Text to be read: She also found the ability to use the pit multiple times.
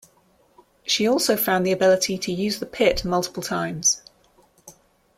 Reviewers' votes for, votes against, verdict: 2, 0, accepted